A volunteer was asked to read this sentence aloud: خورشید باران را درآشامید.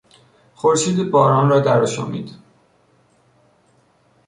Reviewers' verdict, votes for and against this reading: accepted, 2, 1